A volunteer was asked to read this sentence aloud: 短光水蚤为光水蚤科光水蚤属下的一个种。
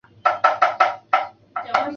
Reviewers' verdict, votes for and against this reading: accepted, 2, 1